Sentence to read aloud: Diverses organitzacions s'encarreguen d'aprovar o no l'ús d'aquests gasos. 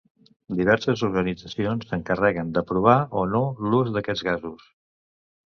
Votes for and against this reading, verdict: 2, 0, accepted